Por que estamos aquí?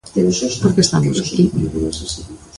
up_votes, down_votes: 0, 2